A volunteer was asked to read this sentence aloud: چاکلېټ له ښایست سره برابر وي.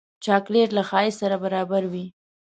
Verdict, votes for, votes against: accepted, 2, 0